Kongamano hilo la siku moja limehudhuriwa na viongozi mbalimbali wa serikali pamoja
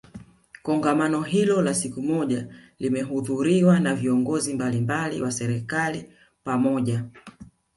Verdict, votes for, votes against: rejected, 1, 2